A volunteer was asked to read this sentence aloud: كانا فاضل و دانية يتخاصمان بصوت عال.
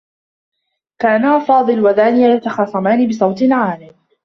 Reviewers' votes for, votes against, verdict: 1, 2, rejected